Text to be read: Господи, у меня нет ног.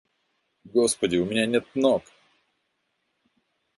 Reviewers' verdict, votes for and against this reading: accepted, 2, 0